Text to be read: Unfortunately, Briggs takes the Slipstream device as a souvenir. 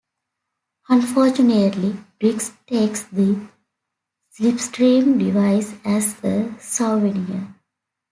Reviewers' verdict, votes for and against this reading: accepted, 2, 0